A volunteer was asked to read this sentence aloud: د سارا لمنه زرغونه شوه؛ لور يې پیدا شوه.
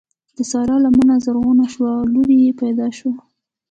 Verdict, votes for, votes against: accepted, 2, 0